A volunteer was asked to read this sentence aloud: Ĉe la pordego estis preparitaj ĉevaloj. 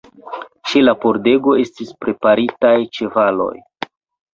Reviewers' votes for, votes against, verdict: 2, 0, accepted